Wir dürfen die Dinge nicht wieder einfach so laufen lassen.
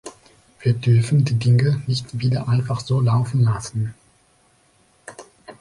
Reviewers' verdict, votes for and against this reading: accepted, 2, 0